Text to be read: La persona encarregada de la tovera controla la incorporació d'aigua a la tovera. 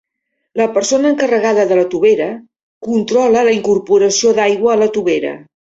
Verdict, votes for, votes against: accepted, 2, 0